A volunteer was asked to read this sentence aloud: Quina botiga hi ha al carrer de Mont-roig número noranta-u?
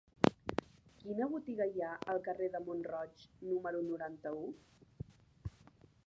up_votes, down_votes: 1, 2